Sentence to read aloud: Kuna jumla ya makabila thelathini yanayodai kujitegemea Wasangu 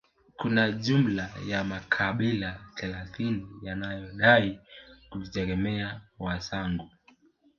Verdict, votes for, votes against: rejected, 0, 2